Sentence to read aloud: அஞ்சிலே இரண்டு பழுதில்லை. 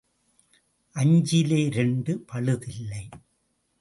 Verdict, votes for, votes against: accepted, 2, 0